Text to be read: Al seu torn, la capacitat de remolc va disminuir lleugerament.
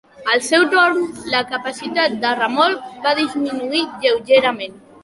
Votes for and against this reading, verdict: 2, 0, accepted